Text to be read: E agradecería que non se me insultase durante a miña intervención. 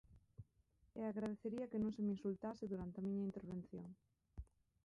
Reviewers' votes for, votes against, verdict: 2, 3, rejected